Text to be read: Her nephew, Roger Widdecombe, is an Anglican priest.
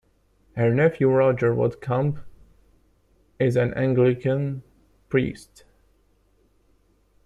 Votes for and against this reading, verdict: 2, 0, accepted